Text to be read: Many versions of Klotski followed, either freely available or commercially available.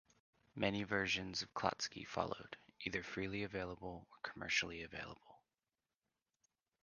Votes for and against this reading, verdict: 1, 2, rejected